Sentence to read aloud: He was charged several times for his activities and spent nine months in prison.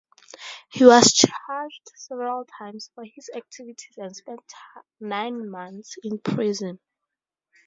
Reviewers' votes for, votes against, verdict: 2, 2, rejected